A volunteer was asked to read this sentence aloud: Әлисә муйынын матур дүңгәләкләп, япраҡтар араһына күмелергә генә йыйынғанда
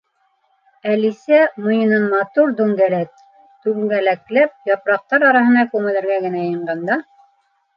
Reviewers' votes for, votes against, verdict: 0, 2, rejected